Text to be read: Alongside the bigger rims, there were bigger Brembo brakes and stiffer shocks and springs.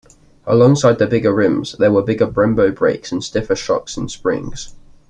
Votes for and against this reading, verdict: 2, 0, accepted